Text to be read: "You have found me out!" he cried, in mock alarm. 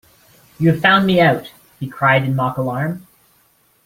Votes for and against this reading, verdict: 0, 2, rejected